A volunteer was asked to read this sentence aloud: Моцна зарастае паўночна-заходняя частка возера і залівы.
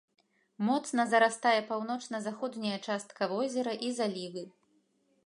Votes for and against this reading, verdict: 2, 0, accepted